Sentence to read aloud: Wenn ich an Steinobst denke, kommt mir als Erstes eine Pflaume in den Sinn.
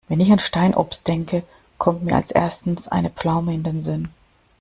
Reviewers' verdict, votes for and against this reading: rejected, 0, 2